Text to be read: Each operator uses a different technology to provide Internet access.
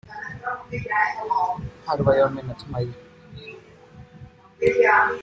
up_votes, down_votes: 0, 2